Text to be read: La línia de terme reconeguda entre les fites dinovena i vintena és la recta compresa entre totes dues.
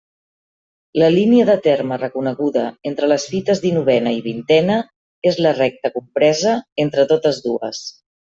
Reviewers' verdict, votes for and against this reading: accepted, 2, 0